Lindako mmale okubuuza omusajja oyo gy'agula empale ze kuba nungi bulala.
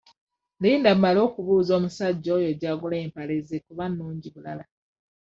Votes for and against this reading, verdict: 1, 2, rejected